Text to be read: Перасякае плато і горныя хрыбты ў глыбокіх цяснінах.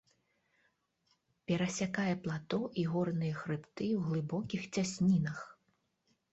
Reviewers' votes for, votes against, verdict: 2, 0, accepted